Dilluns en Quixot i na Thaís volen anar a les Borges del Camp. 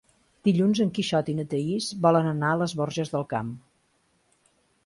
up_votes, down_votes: 2, 0